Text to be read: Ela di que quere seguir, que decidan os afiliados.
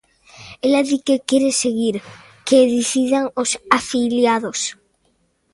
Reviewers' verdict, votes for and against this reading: accepted, 2, 0